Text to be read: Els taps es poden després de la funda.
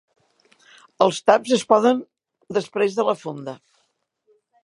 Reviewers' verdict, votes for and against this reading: rejected, 1, 2